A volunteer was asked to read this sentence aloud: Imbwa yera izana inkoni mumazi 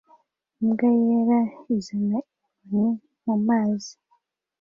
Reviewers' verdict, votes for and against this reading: rejected, 1, 2